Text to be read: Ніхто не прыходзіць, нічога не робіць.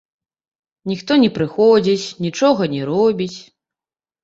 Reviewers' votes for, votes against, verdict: 2, 0, accepted